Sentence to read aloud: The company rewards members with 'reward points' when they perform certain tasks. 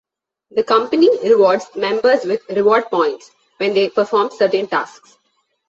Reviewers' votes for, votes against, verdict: 2, 0, accepted